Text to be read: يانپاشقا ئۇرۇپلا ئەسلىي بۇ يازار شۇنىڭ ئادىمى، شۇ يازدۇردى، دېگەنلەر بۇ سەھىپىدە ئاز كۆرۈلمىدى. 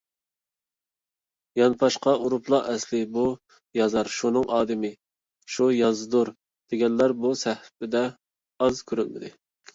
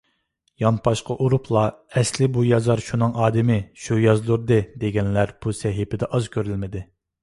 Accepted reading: second